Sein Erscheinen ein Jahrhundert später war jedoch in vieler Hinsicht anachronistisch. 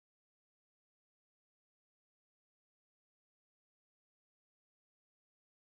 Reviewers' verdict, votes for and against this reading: rejected, 0, 2